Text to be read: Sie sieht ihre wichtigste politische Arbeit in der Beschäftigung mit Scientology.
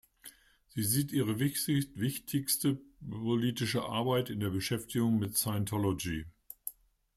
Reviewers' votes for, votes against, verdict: 0, 2, rejected